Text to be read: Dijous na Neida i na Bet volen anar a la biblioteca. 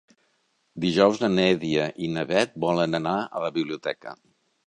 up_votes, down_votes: 1, 2